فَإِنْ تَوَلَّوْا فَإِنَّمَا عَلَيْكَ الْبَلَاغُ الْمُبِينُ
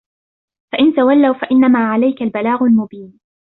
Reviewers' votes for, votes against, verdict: 2, 0, accepted